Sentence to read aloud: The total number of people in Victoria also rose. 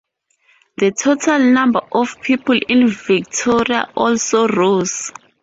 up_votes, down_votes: 2, 2